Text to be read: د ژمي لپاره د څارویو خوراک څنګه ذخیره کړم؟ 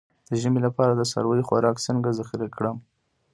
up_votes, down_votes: 0, 2